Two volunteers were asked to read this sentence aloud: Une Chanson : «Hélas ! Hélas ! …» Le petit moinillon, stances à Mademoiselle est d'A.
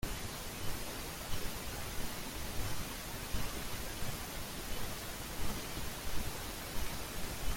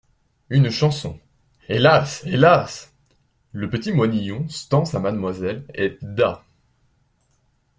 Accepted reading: second